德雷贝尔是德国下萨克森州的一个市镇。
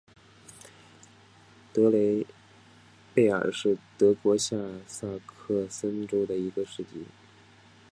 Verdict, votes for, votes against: rejected, 2, 3